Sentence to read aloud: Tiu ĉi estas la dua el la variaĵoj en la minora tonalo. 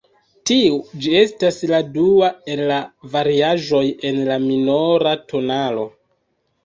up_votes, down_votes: 2, 1